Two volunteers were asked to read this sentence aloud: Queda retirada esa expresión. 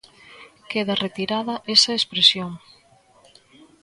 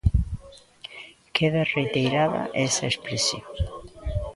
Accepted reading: first